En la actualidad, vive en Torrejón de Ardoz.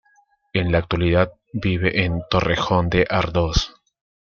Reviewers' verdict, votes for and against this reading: accepted, 2, 0